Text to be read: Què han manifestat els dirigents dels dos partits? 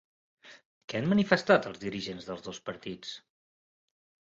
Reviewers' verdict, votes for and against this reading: accepted, 5, 0